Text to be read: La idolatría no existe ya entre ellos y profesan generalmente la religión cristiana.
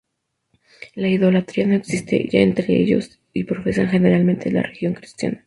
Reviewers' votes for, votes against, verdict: 2, 2, rejected